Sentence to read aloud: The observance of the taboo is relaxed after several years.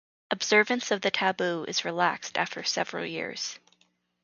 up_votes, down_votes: 0, 4